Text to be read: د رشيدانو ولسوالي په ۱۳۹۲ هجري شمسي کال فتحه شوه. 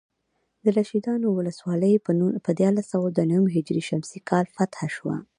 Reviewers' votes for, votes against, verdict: 0, 2, rejected